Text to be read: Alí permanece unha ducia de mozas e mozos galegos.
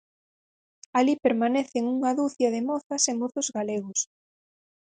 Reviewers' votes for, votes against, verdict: 2, 4, rejected